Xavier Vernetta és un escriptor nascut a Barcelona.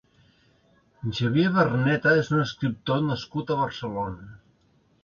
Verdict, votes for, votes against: accepted, 2, 0